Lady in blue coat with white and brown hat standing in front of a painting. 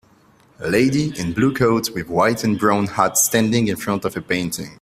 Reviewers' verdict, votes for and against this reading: accepted, 2, 0